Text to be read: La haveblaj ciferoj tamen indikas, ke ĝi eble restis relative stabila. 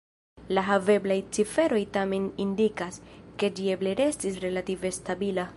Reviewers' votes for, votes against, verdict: 0, 2, rejected